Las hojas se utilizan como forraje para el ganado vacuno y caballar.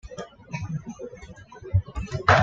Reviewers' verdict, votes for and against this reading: rejected, 1, 2